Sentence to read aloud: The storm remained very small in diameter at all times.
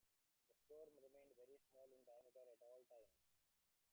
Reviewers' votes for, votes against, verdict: 0, 2, rejected